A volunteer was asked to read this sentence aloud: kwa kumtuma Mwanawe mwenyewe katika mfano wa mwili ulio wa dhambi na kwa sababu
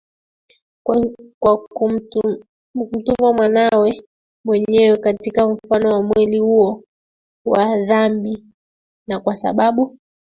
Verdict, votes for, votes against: rejected, 0, 2